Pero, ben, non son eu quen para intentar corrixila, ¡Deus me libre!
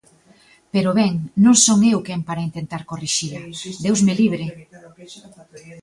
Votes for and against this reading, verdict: 2, 1, accepted